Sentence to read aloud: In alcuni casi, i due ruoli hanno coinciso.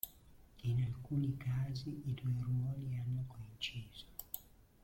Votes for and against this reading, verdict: 0, 2, rejected